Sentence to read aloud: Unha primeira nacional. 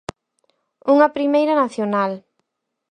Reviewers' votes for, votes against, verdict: 4, 0, accepted